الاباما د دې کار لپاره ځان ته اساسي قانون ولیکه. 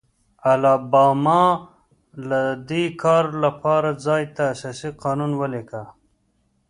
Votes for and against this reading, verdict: 2, 0, accepted